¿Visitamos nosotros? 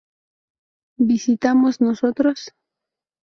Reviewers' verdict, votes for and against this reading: rejected, 2, 2